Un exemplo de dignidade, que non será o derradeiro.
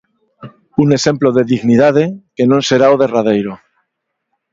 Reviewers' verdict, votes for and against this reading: accepted, 2, 1